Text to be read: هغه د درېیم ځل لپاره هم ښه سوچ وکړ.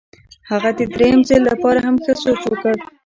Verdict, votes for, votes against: accepted, 2, 0